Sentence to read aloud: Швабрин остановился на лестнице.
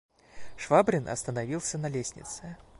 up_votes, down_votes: 2, 0